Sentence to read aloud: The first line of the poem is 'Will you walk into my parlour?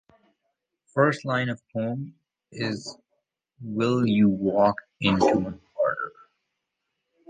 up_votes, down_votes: 1, 2